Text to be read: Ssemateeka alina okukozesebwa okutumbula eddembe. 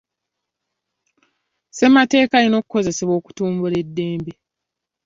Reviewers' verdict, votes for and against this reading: accepted, 2, 0